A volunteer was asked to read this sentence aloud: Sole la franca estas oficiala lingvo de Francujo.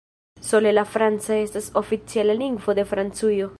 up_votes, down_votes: 0, 2